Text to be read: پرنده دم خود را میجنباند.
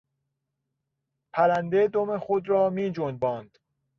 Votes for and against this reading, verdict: 2, 0, accepted